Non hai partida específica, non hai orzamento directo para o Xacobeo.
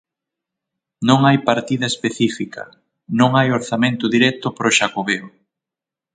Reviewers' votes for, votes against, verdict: 6, 0, accepted